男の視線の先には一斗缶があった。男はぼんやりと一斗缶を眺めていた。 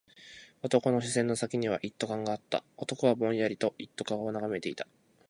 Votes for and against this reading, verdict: 4, 0, accepted